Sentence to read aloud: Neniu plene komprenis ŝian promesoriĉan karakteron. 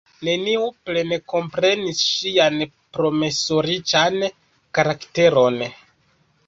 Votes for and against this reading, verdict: 1, 2, rejected